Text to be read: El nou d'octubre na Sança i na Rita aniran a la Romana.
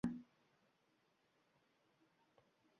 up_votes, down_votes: 0, 2